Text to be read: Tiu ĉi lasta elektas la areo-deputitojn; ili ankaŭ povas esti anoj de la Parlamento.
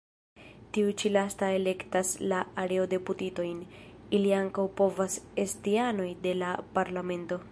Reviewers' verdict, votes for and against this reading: rejected, 1, 2